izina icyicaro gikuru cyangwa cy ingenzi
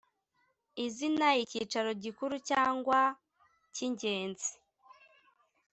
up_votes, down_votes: 2, 0